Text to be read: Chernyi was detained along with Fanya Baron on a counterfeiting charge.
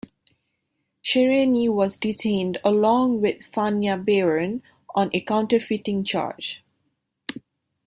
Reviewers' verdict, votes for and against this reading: accepted, 2, 0